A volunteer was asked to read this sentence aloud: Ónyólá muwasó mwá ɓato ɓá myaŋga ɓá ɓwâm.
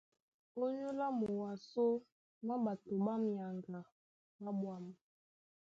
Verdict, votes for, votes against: accepted, 2, 0